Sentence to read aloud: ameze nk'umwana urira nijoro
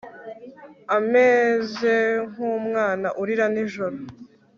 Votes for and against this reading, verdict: 1, 2, rejected